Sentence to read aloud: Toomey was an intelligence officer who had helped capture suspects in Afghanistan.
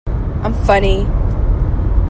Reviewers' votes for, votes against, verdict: 0, 2, rejected